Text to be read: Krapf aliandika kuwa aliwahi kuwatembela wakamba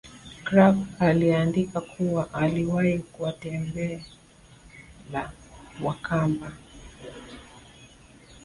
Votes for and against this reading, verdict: 0, 2, rejected